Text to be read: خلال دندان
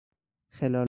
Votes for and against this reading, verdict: 0, 4, rejected